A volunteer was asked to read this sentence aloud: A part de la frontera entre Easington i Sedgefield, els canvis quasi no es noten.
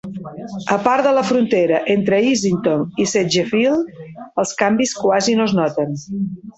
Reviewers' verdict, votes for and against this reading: rejected, 0, 2